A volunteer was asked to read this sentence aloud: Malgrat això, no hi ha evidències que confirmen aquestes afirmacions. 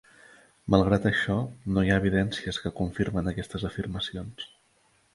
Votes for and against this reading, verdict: 3, 1, accepted